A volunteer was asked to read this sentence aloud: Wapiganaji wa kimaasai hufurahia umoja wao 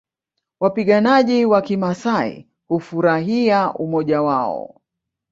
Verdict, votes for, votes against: accepted, 2, 1